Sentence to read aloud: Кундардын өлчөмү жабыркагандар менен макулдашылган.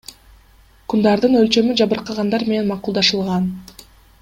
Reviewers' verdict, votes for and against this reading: accepted, 3, 1